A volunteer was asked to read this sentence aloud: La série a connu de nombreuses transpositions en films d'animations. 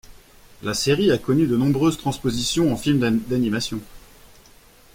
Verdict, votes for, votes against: rejected, 0, 2